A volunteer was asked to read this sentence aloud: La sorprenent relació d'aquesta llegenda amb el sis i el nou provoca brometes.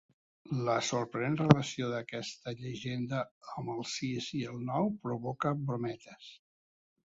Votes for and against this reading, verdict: 3, 0, accepted